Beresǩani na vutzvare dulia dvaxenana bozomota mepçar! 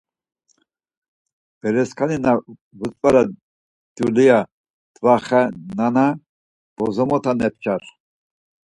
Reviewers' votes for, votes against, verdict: 4, 0, accepted